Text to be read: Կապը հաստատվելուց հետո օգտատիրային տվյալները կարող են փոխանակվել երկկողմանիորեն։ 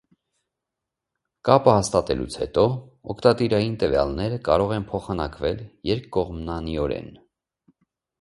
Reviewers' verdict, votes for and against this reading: rejected, 1, 2